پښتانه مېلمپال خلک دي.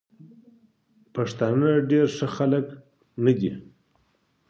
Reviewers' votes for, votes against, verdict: 1, 2, rejected